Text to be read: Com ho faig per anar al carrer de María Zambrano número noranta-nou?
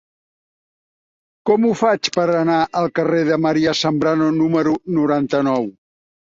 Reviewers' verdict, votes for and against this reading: accepted, 4, 1